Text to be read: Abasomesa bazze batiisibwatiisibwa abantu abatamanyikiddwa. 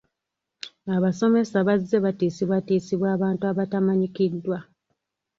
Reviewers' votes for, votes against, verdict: 2, 0, accepted